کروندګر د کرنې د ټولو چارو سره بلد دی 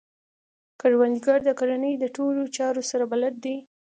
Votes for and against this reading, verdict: 2, 1, accepted